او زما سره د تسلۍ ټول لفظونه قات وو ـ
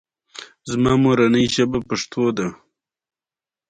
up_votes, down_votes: 2, 0